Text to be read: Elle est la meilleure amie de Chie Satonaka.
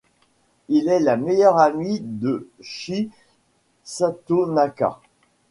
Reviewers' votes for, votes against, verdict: 0, 2, rejected